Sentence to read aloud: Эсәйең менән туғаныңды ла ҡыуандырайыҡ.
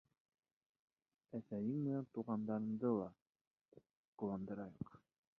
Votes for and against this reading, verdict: 1, 2, rejected